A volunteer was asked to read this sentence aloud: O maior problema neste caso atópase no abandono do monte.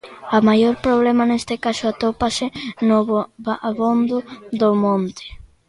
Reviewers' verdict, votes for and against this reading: rejected, 0, 2